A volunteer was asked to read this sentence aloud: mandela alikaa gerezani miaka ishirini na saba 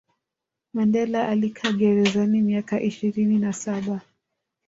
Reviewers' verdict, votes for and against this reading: rejected, 1, 2